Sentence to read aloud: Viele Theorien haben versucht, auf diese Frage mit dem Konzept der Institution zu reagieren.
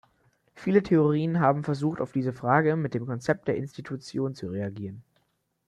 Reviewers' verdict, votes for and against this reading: accepted, 2, 0